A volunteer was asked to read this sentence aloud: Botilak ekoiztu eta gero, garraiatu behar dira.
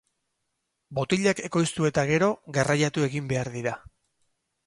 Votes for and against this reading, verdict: 2, 4, rejected